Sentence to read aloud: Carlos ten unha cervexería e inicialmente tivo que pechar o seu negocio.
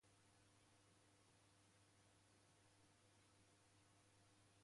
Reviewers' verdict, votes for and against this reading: rejected, 0, 2